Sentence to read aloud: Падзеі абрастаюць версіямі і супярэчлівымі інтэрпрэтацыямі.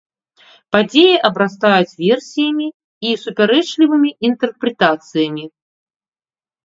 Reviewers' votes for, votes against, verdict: 2, 0, accepted